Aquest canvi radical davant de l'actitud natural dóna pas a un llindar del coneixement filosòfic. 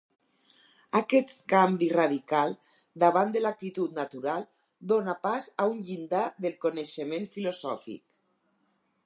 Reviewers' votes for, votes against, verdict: 4, 0, accepted